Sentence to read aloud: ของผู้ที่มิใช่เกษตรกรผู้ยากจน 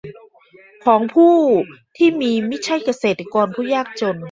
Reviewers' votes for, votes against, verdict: 1, 2, rejected